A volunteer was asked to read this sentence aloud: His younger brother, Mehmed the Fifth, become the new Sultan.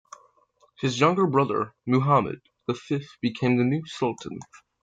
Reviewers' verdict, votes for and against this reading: accepted, 3, 0